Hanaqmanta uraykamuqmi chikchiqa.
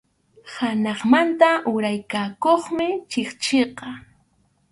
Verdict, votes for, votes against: rejected, 2, 2